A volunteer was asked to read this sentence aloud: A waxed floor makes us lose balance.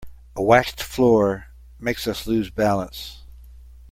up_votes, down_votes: 2, 0